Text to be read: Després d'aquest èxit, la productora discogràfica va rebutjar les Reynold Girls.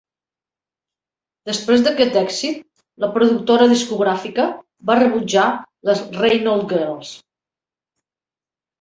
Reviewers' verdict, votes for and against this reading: accepted, 2, 0